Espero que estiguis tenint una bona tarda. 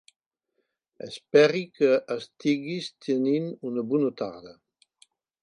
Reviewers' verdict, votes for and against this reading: rejected, 2, 3